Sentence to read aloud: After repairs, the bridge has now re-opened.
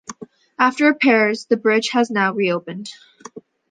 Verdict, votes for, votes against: accepted, 2, 0